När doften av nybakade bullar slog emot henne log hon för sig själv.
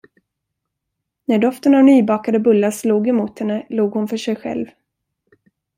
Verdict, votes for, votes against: accepted, 2, 0